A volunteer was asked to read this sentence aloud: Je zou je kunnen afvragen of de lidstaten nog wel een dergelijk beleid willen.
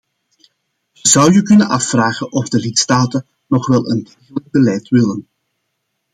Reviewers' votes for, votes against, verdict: 1, 2, rejected